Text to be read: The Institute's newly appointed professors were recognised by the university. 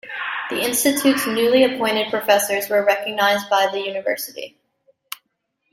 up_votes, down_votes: 2, 0